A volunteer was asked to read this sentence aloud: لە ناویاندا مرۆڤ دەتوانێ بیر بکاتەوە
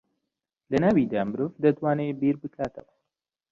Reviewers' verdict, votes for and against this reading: rejected, 1, 2